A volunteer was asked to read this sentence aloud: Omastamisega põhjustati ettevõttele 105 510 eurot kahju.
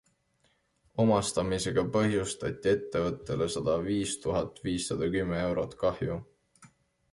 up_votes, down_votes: 0, 2